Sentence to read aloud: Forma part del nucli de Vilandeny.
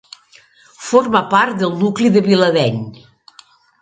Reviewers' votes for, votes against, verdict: 2, 0, accepted